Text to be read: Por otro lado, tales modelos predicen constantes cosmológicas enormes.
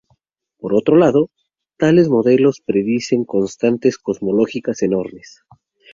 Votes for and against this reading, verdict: 2, 2, rejected